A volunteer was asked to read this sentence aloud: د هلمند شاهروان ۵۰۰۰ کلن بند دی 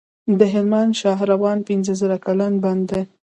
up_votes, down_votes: 0, 2